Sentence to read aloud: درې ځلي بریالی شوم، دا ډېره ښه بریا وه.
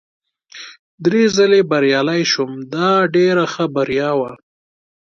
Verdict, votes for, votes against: accepted, 2, 0